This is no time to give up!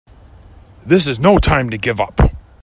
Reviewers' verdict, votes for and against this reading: accepted, 2, 0